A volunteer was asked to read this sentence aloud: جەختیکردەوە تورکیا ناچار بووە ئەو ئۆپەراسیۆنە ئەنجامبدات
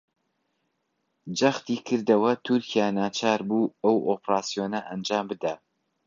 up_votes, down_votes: 1, 3